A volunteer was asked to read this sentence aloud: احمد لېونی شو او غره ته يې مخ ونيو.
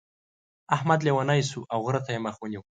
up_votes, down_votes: 2, 0